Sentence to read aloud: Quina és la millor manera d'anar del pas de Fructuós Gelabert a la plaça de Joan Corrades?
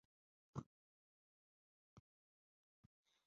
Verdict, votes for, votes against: rejected, 0, 2